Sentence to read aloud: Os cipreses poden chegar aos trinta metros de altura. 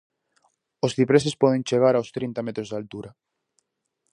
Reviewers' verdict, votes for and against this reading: accepted, 4, 0